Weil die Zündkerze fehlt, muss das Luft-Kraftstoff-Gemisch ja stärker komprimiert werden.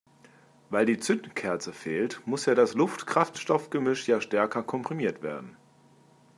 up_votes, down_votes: 1, 2